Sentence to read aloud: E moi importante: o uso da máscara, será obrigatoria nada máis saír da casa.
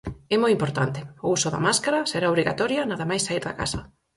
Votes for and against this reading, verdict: 4, 0, accepted